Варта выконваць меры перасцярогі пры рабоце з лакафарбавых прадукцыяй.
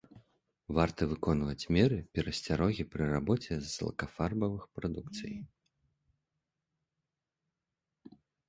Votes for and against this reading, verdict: 2, 0, accepted